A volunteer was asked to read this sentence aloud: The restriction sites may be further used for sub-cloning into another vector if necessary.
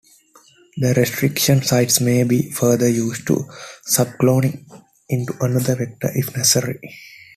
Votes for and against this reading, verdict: 0, 2, rejected